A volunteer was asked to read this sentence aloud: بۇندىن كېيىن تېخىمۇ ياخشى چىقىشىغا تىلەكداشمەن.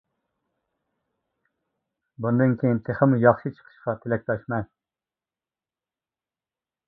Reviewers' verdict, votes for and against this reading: rejected, 1, 2